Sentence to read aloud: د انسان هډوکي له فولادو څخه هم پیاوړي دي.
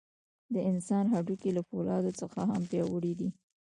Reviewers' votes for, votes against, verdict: 1, 2, rejected